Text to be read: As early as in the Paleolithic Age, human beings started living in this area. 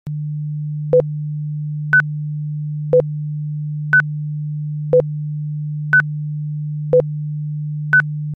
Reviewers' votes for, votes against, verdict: 0, 2, rejected